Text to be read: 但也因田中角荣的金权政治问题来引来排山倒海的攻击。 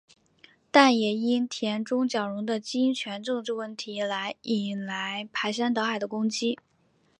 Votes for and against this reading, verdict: 2, 0, accepted